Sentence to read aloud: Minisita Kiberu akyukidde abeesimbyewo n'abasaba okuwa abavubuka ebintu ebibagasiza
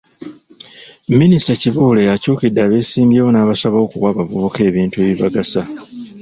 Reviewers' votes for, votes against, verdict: 0, 2, rejected